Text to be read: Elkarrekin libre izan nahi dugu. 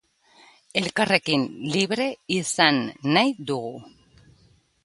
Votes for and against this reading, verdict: 3, 0, accepted